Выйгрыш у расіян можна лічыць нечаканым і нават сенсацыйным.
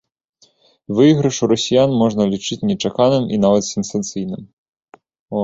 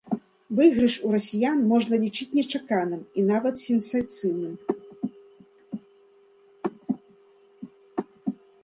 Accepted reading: first